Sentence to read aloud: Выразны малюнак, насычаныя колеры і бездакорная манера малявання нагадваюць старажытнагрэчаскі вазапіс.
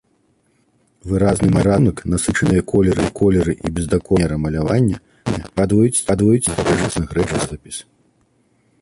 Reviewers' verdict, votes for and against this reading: rejected, 0, 3